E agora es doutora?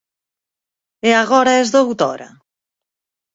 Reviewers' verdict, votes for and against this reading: accepted, 4, 0